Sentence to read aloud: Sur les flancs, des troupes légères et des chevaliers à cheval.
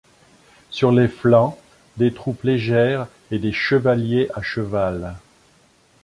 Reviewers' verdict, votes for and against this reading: accepted, 2, 0